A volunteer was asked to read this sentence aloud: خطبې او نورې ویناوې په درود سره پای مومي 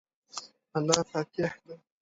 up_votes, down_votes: 1, 2